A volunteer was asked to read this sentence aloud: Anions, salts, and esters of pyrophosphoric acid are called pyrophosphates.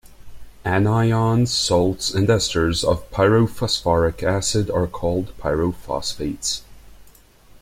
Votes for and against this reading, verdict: 2, 0, accepted